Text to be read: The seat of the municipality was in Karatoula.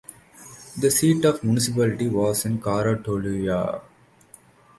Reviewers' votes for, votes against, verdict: 1, 2, rejected